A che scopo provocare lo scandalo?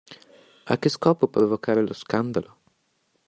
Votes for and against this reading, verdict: 2, 0, accepted